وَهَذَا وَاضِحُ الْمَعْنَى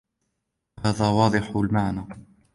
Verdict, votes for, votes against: accepted, 2, 1